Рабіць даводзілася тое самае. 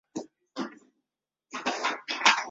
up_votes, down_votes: 0, 2